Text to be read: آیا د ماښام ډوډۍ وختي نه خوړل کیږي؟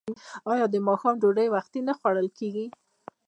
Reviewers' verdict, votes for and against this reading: accepted, 2, 0